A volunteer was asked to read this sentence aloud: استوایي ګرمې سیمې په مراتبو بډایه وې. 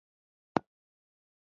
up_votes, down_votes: 0, 2